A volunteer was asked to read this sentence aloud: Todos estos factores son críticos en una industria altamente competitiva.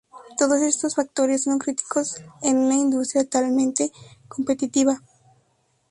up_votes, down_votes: 2, 0